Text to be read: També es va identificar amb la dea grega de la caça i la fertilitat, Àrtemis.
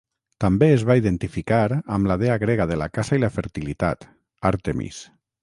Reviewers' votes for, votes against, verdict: 3, 3, rejected